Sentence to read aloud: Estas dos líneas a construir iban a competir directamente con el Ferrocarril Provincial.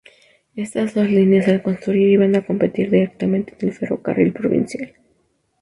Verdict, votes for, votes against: rejected, 0, 6